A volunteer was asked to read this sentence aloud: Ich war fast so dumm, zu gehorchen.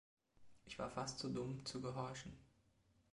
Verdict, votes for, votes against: accepted, 2, 0